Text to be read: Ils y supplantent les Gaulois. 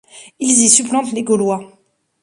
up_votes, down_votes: 2, 0